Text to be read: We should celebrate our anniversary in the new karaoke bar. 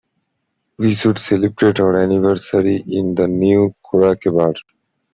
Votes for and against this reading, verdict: 1, 2, rejected